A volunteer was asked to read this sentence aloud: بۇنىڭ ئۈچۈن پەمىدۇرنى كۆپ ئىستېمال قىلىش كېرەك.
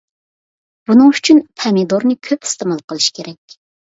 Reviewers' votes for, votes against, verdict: 2, 0, accepted